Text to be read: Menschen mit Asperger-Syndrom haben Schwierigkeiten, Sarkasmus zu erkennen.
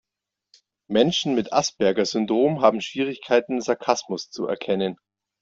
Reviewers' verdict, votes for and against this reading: accepted, 2, 0